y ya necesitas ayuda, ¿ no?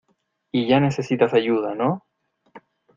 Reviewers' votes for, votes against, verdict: 2, 0, accepted